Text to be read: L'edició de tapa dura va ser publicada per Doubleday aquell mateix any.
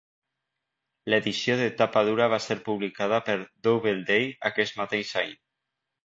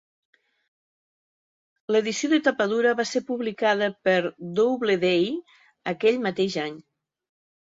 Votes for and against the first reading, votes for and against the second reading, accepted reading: 1, 2, 2, 0, second